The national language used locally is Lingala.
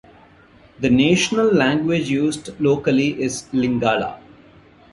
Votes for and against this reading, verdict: 2, 0, accepted